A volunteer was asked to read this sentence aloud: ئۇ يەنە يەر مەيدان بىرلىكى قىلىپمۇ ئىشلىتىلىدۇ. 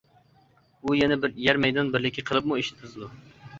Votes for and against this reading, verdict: 1, 2, rejected